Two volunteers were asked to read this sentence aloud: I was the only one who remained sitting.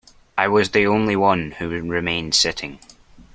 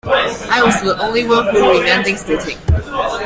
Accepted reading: first